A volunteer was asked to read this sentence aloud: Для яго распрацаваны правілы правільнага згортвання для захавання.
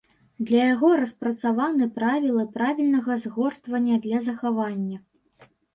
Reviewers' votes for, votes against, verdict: 2, 0, accepted